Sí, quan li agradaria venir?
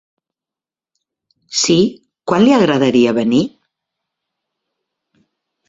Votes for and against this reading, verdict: 3, 0, accepted